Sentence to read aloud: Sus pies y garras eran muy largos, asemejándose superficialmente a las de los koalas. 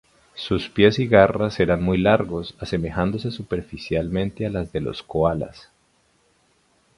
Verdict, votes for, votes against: rejected, 0, 2